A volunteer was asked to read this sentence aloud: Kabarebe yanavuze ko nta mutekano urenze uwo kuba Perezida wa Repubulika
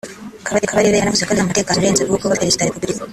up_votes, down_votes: 1, 2